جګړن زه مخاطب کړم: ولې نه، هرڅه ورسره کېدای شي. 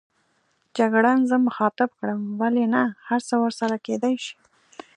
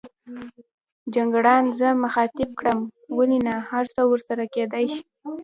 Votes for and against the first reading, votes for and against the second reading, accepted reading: 2, 0, 1, 2, first